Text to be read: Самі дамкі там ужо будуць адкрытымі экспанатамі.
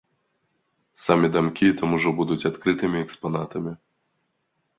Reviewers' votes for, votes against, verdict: 2, 0, accepted